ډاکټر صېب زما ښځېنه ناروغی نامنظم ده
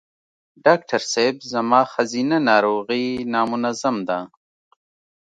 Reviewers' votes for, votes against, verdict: 2, 0, accepted